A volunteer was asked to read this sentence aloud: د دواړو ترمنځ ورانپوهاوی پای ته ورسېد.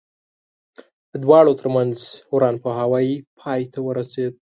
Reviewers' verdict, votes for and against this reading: accepted, 3, 0